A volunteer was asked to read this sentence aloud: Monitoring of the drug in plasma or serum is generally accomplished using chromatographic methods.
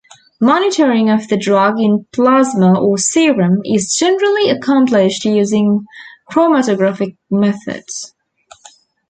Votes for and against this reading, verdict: 3, 2, accepted